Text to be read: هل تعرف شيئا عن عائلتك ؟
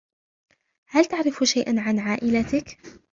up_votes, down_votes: 1, 2